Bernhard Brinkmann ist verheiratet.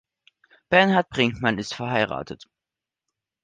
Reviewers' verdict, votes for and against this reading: accepted, 2, 0